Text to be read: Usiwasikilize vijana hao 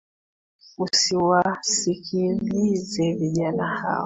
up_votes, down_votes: 1, 2